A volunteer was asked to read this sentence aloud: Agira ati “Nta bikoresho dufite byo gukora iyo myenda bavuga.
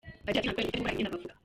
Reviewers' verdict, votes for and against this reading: rejected, 0, 2